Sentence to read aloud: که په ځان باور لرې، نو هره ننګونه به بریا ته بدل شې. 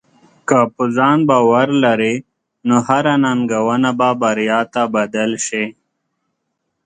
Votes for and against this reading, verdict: 2, 0, accepted